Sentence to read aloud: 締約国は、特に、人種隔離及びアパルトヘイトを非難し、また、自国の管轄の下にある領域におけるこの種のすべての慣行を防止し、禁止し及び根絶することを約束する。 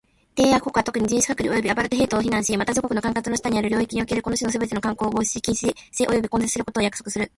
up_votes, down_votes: 2, 1